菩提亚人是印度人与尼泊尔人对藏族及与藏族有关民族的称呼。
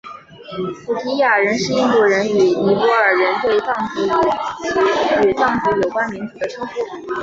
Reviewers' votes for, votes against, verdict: 4, 1, accepted